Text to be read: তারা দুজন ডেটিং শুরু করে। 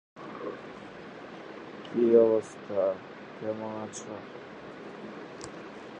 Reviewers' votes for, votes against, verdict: 0, 2, rejected